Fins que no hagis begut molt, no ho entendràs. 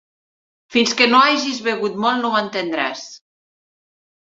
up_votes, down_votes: 3, 0